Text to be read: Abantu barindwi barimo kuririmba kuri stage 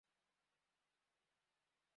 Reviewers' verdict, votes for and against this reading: rejected, 0, 2